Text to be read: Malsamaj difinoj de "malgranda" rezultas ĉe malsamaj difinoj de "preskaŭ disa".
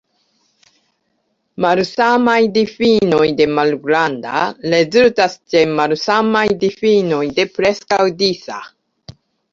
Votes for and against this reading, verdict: 2, 0, accepted